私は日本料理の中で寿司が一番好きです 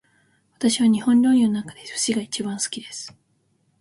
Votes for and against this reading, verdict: 2, 0, accepted